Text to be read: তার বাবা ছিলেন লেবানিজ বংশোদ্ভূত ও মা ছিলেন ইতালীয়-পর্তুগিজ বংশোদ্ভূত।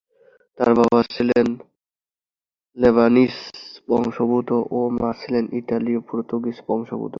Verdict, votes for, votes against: accepted, 2, 1